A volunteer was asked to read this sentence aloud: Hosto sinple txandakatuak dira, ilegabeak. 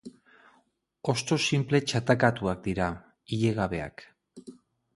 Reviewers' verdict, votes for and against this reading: rejected, 2, 4